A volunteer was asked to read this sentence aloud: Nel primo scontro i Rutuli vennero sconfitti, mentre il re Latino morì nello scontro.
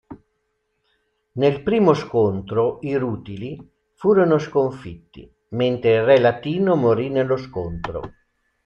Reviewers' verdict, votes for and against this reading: rejected, 0, 2